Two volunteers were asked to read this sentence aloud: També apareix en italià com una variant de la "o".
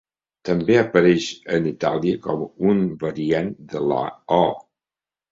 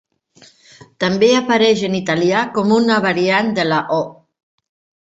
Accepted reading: second